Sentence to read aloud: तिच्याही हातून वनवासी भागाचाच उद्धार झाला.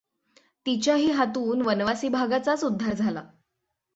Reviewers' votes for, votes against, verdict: 6, 0, accepted